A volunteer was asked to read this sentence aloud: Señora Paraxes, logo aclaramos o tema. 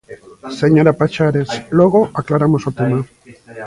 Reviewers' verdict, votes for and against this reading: rejected, 0, 2